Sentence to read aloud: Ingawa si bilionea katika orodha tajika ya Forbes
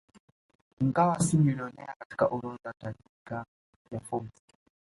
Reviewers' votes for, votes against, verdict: 2, 0, accepted